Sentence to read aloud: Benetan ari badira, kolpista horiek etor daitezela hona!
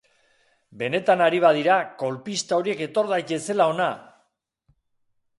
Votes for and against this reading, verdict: 2, 0, accepted